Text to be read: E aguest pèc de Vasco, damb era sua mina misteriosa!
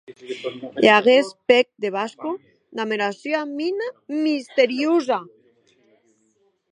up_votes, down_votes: 2, 2